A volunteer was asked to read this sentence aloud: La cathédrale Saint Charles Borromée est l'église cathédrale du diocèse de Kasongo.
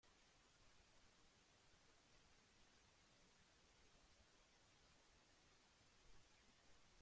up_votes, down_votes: 0, 2